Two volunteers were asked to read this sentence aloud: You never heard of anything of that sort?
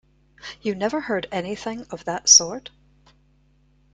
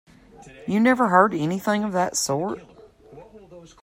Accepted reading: first